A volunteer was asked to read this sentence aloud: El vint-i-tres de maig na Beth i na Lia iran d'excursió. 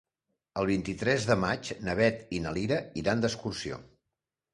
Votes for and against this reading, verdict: 0, 2, rejected